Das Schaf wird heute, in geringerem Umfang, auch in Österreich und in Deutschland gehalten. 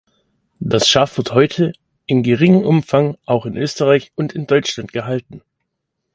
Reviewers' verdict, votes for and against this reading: rejected, 1, 2